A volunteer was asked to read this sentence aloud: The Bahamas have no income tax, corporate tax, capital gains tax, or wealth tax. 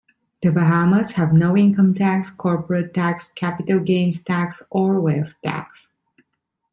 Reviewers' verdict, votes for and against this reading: accepted, 2, 0